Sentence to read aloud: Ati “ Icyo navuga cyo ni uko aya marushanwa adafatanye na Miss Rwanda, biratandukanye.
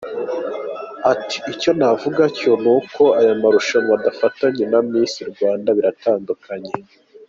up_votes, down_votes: 2, 0